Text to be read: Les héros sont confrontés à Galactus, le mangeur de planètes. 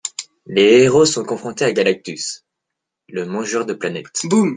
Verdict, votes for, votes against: rejected, 0, 2